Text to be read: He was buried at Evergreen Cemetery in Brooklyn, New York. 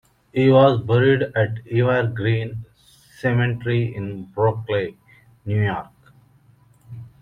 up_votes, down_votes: 2, 0